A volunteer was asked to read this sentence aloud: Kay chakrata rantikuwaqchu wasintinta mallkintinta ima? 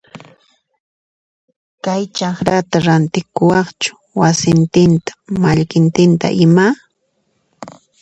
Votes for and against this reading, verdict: 2, 0, accepted